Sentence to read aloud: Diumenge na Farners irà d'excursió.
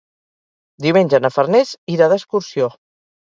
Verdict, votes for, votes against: accepted, 4, 0